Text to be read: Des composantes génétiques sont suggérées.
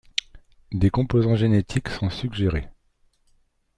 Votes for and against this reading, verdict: 1, 3, rejected